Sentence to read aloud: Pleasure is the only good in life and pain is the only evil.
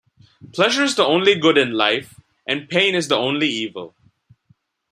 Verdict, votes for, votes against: accepted, 2, 0